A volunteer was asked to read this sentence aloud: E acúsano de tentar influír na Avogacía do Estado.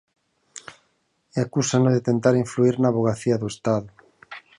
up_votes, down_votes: 4, 0